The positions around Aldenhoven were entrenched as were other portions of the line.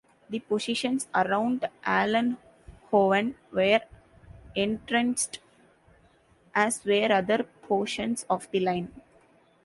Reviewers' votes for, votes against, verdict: 1, 2, rejected